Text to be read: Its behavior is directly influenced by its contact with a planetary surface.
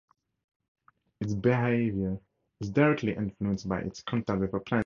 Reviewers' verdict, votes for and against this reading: rejected, 0, 2